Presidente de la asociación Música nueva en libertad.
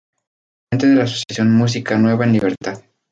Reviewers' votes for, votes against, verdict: 0, 2, rejected